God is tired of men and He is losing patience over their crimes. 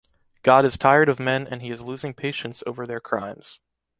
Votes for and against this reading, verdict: 2, 0, accepted